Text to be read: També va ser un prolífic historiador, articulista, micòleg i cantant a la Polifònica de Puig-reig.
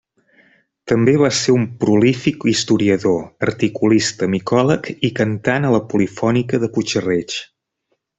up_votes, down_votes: 2, 0